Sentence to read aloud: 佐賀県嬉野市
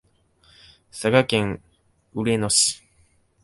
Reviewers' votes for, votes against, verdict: 1, 3, rejected